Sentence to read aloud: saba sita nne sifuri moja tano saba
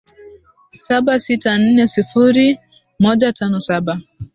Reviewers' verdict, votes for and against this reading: rejected, 0, 2